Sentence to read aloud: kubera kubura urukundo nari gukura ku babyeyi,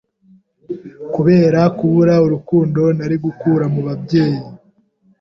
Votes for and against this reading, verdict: 1, 2, rejected